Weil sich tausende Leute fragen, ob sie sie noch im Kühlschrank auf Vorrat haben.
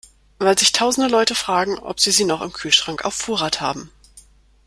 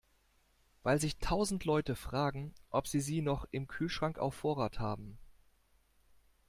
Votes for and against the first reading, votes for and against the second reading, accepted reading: 2, 0, 1, 2, first